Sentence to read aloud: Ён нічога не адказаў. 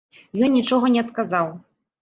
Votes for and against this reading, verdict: 2, 0, accepted